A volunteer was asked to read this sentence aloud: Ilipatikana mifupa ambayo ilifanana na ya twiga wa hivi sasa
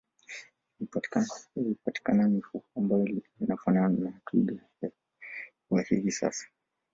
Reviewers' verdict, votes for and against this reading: rejected, 1, 2